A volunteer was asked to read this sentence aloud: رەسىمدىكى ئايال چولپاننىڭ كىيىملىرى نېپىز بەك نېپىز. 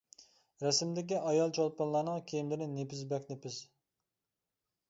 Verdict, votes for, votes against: rejected, 1, 2